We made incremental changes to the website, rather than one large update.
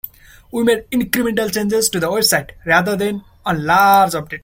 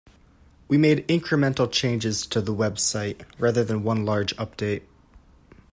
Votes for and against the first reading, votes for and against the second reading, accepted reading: 1, 2, 2, 0, second